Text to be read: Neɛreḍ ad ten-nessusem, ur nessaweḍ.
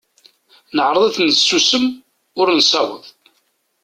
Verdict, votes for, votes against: accepted, 2, 0